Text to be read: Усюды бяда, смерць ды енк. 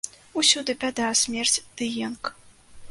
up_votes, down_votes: 2, 0